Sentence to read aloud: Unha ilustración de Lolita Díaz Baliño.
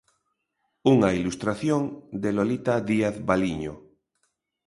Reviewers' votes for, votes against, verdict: 2, 0, accepted